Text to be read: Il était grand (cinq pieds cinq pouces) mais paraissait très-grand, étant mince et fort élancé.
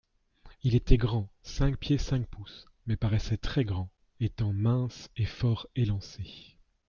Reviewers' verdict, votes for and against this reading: accepted, 2, 0